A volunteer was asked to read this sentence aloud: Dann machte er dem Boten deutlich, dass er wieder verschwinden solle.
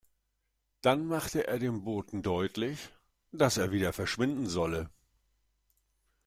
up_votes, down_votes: 2, 0